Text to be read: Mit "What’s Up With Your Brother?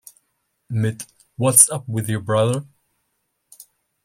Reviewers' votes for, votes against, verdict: 2, 0, accepted